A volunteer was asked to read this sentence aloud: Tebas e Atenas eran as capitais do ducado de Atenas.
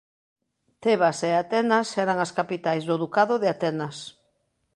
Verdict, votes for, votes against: rejected, 0, 2